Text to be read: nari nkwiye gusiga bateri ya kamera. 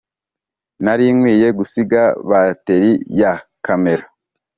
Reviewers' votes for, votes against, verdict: 3, 0, accepted